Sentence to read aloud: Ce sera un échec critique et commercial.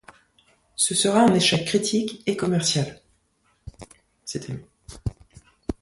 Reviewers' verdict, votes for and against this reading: rejected, 0, 2